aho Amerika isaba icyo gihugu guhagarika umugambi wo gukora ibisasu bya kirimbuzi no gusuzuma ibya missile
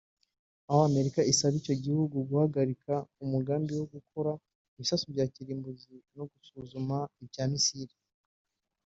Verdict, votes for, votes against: rejected, 0, 2